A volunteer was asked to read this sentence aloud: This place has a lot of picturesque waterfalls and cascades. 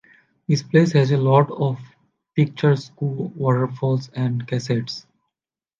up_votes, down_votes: 1, 2